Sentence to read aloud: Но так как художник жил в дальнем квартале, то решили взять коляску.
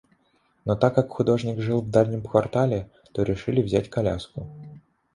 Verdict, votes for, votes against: accepted, 2, 0